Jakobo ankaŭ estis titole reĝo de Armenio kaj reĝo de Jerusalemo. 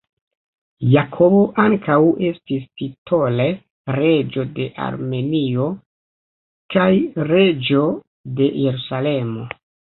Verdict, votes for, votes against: rejected, 0, 2